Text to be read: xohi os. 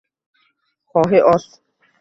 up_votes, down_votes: 0, 2